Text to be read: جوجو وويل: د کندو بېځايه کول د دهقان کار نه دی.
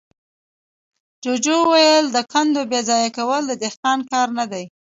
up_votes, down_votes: 1, 2